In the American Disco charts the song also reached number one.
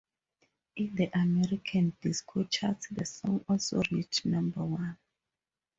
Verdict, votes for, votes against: accepted, 2, 0